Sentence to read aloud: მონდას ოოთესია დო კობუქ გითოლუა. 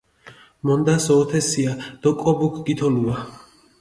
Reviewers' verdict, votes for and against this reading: rejected, 0, 2